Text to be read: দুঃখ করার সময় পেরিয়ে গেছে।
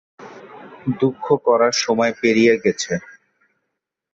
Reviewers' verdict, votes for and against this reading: rejected, 1, 2